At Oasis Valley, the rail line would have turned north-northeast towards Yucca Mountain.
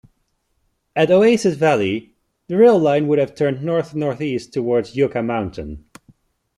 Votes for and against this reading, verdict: 2, 0, accepted